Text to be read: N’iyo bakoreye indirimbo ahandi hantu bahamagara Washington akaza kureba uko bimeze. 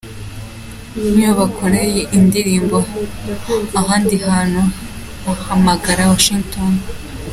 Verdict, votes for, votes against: rejected, 1, 3